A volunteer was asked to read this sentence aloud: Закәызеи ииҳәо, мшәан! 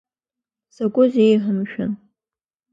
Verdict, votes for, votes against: accepted, 2, 0